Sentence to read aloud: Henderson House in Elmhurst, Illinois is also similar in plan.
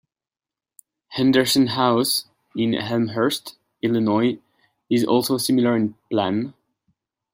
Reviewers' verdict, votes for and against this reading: accepted, 2, 0